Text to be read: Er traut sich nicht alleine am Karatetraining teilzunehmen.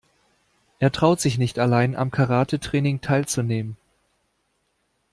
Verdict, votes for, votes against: rejected, 0, 2